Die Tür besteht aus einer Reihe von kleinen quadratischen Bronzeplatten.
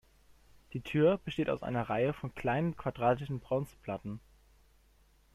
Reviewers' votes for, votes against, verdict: 1, 2, rejected